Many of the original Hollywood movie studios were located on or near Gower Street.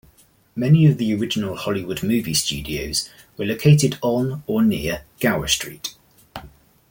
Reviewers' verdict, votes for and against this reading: accepted, 2, 0